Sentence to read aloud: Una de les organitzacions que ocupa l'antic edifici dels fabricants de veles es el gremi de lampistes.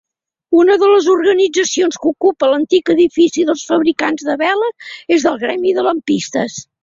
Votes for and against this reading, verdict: 2, 1, accepted